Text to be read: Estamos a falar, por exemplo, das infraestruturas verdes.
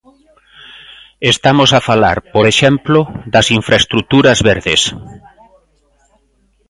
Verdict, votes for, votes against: accepted, 2, 0